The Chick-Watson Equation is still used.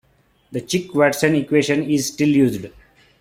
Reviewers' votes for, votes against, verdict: 0, 2, rejected